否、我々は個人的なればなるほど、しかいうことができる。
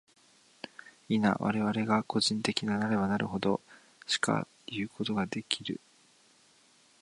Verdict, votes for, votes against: accepted, 4, 0